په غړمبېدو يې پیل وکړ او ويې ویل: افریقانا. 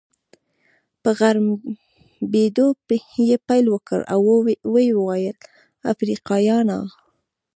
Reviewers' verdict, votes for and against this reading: rejected, 1, 2